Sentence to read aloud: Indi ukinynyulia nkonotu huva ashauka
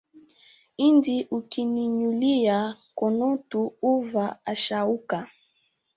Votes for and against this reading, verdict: 2, 1, accepted